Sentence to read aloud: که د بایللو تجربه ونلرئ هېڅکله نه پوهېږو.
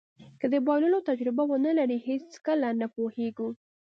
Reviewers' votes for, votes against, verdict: 2, 0, accepted